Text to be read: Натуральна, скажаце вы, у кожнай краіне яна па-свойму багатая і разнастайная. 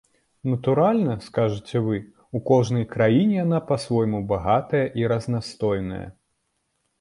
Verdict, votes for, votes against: rejected, 1, 2